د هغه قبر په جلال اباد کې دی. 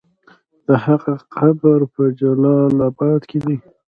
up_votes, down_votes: 2, 0